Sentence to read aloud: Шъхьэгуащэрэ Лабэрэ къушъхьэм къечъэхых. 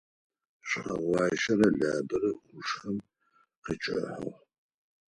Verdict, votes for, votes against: rejected, 2, 4